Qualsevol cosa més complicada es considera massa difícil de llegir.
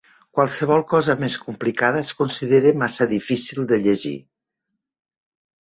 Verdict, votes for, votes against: accepted, 3, 0